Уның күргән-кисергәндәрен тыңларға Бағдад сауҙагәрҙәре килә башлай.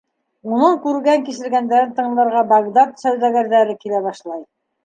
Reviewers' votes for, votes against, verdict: 2, 0, accepted